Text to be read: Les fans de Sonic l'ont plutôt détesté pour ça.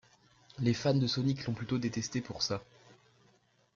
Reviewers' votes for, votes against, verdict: 2, 0, accepted